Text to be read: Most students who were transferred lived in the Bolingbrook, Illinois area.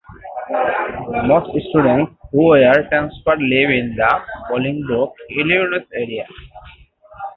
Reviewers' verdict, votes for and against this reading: rejected, 0, 3